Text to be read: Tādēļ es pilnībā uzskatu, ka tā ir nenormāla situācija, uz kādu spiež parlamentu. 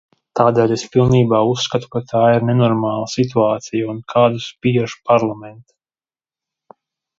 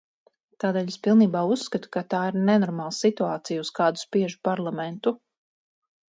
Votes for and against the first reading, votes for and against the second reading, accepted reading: 0, 2, 4, 0, second